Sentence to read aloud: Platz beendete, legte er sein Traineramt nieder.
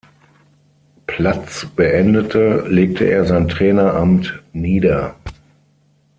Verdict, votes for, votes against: accepted, 6, 0